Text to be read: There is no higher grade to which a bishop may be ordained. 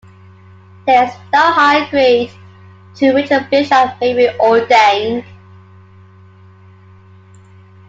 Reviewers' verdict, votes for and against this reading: accepted, 2, 1